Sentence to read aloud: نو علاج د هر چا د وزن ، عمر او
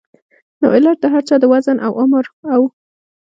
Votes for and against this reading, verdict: 2, 0, accepted